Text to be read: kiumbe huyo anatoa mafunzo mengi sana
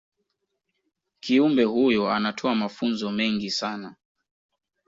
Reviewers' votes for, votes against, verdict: 0, 2, rejected